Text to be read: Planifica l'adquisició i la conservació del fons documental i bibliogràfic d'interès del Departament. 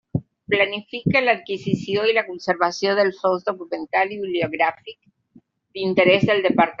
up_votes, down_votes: 0, 2